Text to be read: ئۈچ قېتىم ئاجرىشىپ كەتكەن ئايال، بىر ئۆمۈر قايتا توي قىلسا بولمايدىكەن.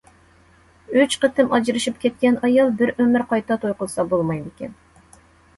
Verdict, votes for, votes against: accepted, 2, 0